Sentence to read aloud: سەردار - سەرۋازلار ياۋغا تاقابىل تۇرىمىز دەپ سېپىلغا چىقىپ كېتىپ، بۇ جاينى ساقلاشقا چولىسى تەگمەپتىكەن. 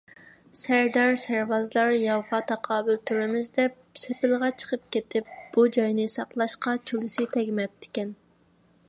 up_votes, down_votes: 3, 0